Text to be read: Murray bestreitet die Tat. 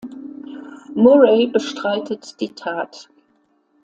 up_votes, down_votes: 2, 0